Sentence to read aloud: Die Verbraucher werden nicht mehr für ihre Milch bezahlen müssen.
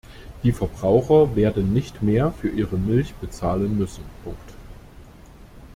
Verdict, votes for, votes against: rejected, 0, 2